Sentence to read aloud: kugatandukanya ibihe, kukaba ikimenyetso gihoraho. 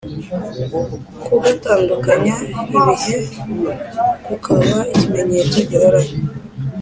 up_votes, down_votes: 3, 1